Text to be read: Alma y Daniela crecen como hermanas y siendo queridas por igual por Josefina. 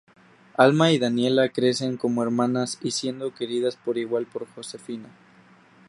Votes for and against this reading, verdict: 2, 2, rejected